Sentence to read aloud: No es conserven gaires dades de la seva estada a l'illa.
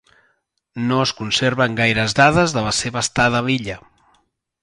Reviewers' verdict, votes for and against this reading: accepted, 2, 0